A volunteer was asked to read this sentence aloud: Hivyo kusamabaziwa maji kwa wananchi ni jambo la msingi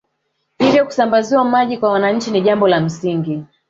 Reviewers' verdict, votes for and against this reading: rejected, 1, 2